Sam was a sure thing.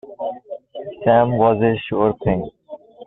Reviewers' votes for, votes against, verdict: 2, 0, accepted